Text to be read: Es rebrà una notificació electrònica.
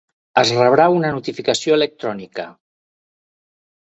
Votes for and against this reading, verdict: 2, 0, accepted